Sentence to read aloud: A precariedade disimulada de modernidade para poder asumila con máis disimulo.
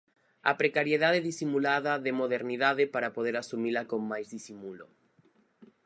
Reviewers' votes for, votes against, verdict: 4, 0, accepted